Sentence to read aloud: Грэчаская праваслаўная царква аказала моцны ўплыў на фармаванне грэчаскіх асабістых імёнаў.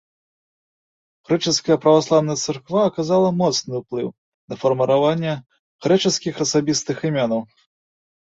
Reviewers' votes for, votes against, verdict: 1, 2, rejected